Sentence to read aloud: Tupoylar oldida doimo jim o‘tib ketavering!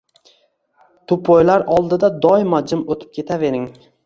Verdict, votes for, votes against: accepted, 2, 0